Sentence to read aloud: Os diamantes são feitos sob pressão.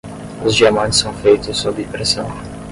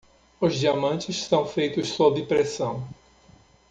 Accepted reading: second